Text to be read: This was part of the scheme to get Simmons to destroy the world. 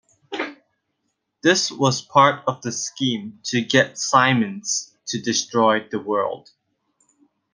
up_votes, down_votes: 1, 2